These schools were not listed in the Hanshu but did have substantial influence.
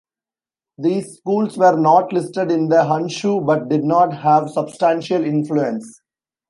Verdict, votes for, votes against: rejected, 1, 2